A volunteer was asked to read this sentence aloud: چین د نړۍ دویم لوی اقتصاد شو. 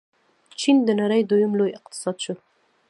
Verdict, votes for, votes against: rejected, 1, 2